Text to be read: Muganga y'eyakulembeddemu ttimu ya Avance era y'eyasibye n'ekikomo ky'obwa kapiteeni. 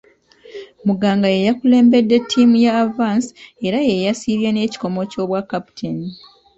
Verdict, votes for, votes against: rejected, 1, 2